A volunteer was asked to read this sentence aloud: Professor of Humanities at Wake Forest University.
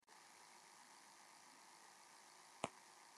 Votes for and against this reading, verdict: 1, 2, rejected